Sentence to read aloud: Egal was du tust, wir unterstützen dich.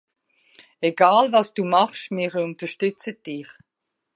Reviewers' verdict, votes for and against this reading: rejected, 1, 2